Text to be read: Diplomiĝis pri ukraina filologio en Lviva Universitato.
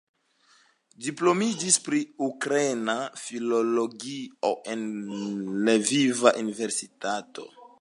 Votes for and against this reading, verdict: 1, 2, rejected